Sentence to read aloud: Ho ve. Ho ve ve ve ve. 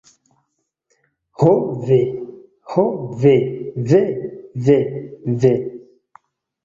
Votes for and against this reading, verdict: 2, 0, accepted